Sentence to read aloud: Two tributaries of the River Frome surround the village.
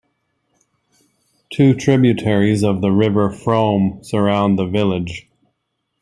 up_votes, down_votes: 2, 1